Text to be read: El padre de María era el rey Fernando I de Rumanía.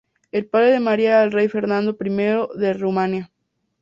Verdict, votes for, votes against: accepted, 4, 0